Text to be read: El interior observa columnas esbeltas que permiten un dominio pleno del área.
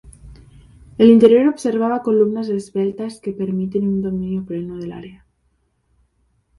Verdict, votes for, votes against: rejected, 0, 2